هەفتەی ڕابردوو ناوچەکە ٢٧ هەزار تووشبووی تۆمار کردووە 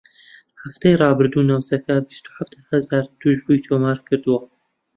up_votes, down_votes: 0, 2